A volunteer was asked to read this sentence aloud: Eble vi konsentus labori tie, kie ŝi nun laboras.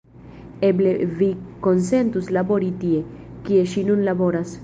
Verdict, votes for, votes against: rejected, 1, 2